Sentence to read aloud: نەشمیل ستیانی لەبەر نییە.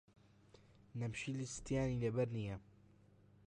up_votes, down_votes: 0, 2